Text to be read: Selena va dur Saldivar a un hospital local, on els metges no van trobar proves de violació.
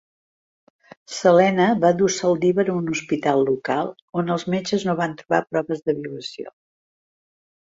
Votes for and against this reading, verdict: 2, 1, accepted